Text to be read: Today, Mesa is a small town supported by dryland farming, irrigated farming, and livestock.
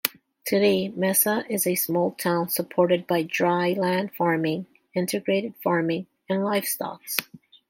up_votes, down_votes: 2, 0